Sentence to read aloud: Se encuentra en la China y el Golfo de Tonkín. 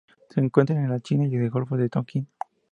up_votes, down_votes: 2, 0